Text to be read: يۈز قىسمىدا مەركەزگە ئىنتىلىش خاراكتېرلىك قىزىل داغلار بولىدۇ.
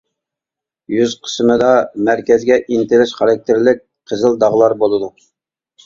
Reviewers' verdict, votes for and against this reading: accepted, 2, 0